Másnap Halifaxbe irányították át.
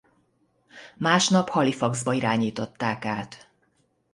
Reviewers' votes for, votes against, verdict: 0, 2, rejected